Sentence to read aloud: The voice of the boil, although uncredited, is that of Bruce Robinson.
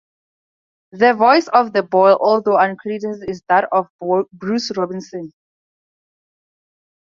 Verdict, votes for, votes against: rejected, 0, 2